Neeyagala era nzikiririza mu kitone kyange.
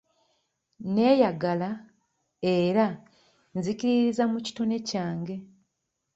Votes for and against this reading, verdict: 2, 1, accepted